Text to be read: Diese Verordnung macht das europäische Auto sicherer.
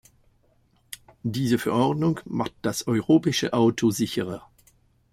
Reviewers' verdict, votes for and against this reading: rejected, 0, 2